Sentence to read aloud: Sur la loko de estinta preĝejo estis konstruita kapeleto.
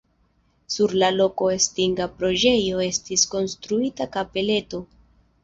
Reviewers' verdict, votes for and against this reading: rejected, 1, 2